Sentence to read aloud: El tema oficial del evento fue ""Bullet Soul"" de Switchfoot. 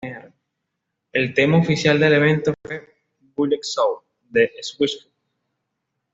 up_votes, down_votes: 0, 2